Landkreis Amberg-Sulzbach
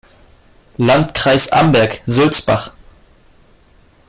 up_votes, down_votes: 2, 0